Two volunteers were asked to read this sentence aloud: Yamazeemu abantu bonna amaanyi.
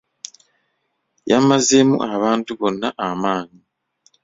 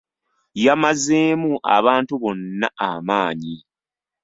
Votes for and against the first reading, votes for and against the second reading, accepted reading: 2, 1, 1, 2, first